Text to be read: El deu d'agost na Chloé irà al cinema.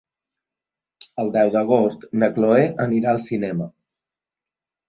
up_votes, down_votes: 0, 2